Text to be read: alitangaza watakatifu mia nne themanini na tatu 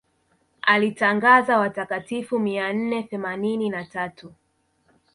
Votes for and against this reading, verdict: 2, 0, accepted